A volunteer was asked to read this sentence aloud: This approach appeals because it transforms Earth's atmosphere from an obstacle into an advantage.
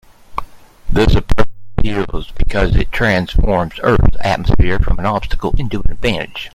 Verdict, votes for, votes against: rejected, 0, 2